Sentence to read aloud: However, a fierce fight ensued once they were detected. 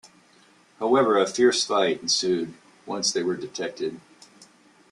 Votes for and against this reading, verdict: 2, 0, accepted